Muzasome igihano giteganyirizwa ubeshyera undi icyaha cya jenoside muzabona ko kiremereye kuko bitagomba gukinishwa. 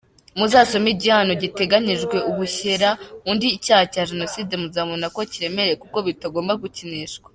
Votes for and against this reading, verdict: 2, 3, rejected